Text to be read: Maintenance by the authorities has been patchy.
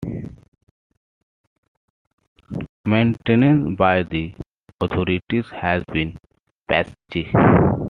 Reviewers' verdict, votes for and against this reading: accepted, 2, 1